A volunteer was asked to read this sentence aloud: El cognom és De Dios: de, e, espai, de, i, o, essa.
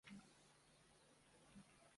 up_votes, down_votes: 0, 2